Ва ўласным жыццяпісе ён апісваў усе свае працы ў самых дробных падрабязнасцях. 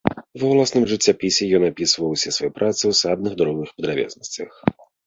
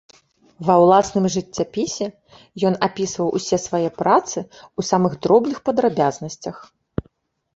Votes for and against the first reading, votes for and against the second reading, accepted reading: 1, 2, 2, 0, second